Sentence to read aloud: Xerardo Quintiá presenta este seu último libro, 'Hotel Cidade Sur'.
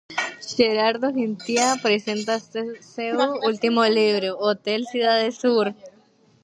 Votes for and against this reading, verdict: 0, 2, rejected